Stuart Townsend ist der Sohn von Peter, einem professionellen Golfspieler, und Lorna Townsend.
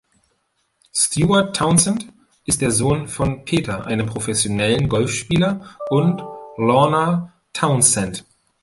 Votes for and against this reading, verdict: 2, 0, accepted